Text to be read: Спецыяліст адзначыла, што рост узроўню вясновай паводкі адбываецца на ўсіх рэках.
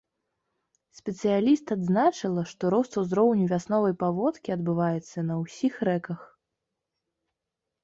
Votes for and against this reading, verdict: 2, 0, accepted